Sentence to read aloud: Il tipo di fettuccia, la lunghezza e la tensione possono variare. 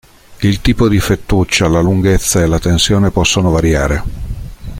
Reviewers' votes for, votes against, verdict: 3, 0, accepted